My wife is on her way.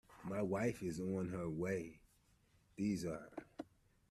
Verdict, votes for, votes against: rejected, 0, 2